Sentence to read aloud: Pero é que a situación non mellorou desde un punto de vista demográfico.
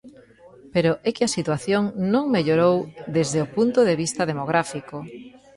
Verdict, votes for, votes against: rejected, 1, 2